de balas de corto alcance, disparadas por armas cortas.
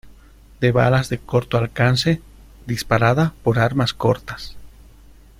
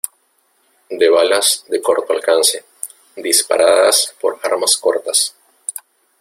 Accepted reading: second